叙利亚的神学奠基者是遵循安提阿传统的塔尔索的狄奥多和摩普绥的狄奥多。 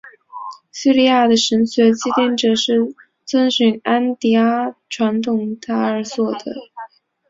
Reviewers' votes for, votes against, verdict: 0, 2, rejected